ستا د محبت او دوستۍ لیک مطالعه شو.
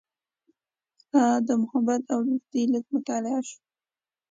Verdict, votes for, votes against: accepted, 2, 0